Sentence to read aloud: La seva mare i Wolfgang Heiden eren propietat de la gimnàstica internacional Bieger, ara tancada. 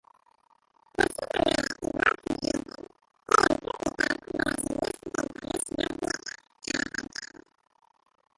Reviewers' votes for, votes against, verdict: 0, 2, rejected